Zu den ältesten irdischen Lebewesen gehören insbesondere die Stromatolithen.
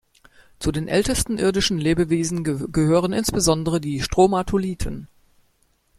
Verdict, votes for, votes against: accepted, 2, 1